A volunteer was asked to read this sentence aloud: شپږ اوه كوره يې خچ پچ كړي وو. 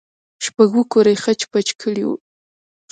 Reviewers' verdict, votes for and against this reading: rejected, 0, 2